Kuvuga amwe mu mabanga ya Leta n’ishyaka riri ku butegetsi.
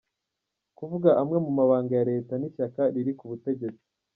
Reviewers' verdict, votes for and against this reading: accepted, 2, 0